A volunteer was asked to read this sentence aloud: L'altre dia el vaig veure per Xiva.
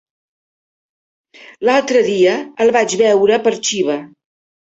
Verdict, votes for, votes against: accepted, 3, 1